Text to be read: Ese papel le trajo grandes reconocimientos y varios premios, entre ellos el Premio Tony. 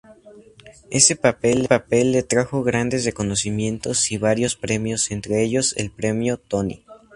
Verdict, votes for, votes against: rejected, 0, 2